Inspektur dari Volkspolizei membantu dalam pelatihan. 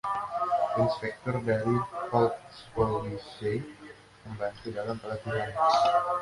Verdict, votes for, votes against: rejected, 1, 2